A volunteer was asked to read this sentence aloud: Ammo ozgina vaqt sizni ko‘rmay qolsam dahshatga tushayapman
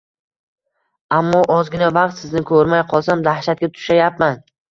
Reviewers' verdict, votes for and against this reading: accepted, 2, 0